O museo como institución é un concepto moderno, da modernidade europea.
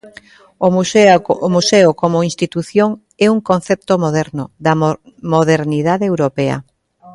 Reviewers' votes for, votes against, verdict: 1, 2, rejected